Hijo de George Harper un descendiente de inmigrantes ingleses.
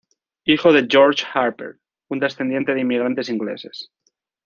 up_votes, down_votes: 2, 0